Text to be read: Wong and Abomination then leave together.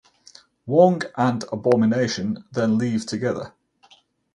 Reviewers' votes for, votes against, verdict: 4, 0, accepted